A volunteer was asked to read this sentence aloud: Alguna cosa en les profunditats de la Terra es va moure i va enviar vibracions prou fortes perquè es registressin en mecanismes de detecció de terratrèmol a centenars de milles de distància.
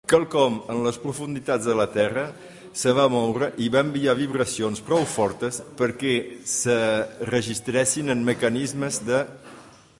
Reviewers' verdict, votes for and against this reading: rejected, 0, 3